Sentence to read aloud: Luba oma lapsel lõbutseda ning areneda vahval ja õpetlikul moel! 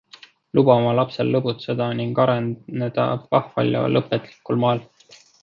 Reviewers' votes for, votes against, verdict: 1, 2, rejected